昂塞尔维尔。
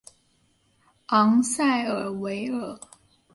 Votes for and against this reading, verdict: 1, 2, rejected